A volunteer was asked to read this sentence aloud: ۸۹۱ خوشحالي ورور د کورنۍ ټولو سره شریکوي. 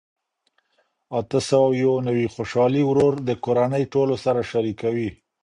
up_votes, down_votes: 0, 2